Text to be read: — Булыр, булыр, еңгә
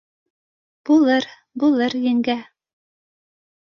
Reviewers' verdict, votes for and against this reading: accepted, 2, 0